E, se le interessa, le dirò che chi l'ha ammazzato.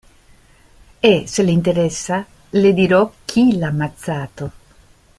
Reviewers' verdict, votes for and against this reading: rejected, 0, 2